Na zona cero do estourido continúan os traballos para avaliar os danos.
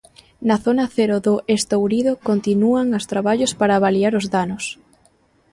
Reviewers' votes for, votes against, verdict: 1, 2, rejected